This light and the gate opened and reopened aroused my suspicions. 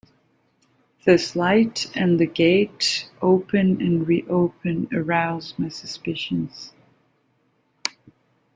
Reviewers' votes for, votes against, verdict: 2, 1, accepted